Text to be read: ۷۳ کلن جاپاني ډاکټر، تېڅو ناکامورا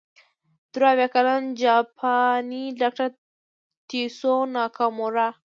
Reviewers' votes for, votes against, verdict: 0, 2, rejected